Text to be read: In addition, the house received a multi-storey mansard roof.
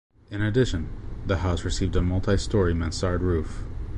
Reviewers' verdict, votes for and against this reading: rejected, 1, 2